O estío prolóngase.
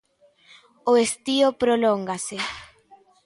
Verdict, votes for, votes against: accepted, 2, 0